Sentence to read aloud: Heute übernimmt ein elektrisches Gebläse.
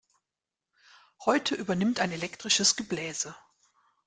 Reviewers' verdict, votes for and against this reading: accepted, 2, 0